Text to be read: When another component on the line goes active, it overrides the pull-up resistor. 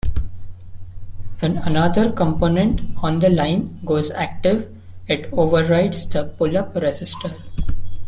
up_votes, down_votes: 2, 1